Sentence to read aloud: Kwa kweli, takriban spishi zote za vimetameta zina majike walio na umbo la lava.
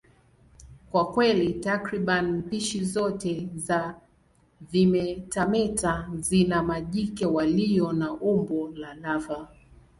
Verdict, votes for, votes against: accepted, 2, 0